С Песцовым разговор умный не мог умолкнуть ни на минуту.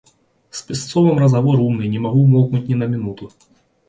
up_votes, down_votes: 0, 2